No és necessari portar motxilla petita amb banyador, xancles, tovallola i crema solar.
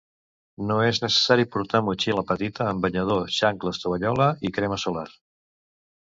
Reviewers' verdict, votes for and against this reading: rejected, 0, 2